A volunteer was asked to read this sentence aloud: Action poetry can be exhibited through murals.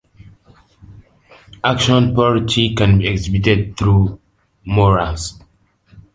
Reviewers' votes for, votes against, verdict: 2, 0, accepted